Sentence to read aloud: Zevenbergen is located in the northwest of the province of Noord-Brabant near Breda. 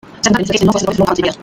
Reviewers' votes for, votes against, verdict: 0, 2, rejected